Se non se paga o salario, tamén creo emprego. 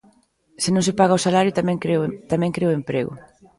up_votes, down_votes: 0, 2